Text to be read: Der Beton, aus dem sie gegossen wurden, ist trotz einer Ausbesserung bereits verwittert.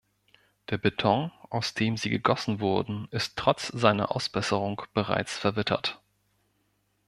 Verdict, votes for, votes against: rejected, 1, 2